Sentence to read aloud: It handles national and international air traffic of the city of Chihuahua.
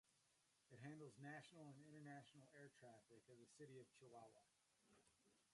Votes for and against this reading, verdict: 1, 2, rejected